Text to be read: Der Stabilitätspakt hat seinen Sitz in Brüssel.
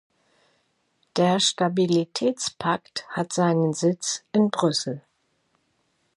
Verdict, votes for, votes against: accepted, 2, 0